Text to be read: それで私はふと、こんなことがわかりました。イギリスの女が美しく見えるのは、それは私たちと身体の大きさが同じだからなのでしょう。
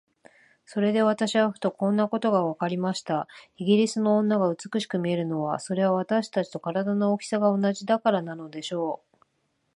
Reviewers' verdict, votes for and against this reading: accepted, 2, 1